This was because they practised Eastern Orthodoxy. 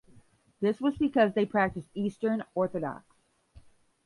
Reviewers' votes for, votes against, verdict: 0, 5, rejected